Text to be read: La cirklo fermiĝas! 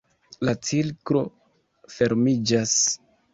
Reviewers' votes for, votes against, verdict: 2, 1, accepted